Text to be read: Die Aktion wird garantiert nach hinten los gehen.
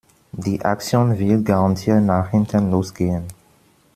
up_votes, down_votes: 2, 1